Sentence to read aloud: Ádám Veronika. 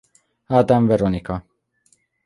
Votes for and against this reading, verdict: 2, 0, accepted